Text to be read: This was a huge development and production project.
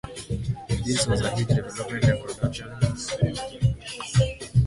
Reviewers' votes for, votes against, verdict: 0, 2, rejected